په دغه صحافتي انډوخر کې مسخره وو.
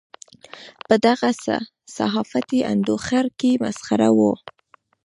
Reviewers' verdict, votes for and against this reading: rejected, 1, 2